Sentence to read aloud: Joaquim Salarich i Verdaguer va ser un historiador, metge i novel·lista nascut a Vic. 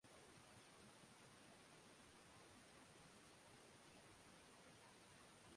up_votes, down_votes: 1, 2